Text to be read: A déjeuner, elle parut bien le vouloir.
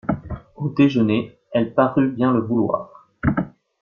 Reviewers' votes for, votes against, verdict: 1, 2, rejected